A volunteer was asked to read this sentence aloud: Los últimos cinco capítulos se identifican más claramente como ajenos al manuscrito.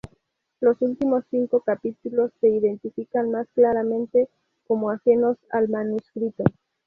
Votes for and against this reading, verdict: 2, 0, accepted